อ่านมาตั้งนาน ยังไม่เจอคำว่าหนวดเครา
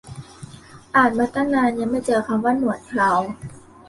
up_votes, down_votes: 2, 0